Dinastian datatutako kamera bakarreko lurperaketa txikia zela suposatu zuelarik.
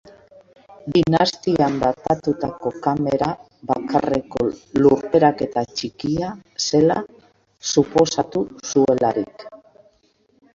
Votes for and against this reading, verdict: 0, 2, rejected